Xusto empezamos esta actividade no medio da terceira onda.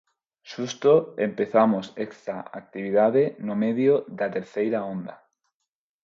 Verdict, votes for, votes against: accepted, 4, 2